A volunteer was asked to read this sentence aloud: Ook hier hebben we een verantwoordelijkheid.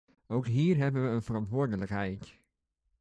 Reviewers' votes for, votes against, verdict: 2, 0, accepted